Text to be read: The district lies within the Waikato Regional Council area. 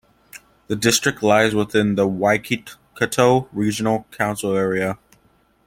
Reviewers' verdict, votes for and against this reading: accepted, 2, 1